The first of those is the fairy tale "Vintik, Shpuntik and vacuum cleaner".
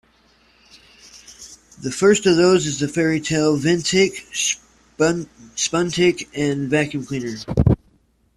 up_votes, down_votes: 1, 2